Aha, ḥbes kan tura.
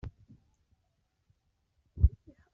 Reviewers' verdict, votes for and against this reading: rejected, 1, 2